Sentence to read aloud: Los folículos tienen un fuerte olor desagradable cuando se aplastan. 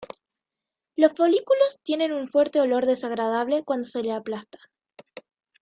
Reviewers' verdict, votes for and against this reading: rejected, 0, 2